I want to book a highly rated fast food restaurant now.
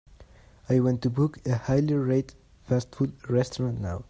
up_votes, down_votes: 2, 0